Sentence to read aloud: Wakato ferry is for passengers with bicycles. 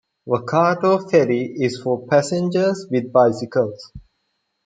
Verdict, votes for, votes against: accepted, 2, 0